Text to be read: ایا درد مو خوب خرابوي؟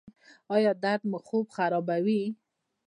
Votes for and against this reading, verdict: 0, 2, rejected